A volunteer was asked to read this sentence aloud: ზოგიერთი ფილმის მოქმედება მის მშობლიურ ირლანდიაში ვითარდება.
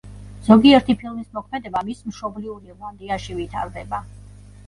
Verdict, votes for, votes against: accepted, 2, 0